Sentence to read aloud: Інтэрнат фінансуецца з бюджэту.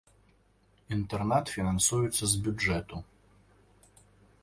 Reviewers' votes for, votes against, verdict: 2, 0, accepted